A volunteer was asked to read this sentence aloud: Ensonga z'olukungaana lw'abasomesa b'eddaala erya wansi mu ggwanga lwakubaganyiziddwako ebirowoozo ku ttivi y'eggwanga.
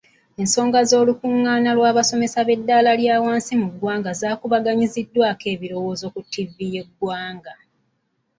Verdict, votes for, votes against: rejected, 1, 2